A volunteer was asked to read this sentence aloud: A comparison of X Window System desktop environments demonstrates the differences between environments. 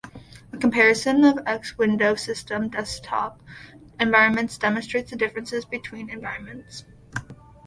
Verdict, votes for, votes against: accepted, 2, 0